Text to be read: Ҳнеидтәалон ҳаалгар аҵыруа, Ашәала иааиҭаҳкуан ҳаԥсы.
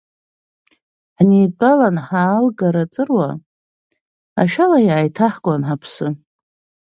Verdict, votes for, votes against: accepted, 2, 0